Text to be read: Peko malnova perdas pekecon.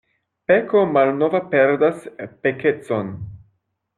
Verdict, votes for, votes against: rejected, 0, 2